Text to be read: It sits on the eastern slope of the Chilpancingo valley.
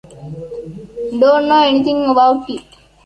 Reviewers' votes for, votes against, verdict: 0, 2, rejected